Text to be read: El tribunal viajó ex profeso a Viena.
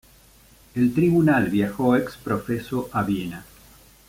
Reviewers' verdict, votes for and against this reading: accepted, 2, 0